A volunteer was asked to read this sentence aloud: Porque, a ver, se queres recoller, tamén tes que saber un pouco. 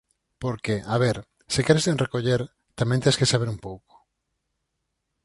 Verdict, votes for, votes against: rejected, 2, 4